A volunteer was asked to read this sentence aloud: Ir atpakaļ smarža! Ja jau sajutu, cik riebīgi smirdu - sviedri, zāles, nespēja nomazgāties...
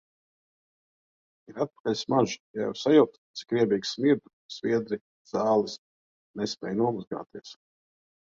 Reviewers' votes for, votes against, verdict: 2, 0, accepted